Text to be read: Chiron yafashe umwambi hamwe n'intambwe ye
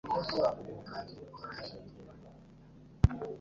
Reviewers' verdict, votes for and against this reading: rejected, 1, 2